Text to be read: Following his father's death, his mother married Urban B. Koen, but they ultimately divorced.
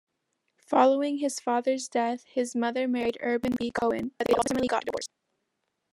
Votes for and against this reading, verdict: 1, 2, rejected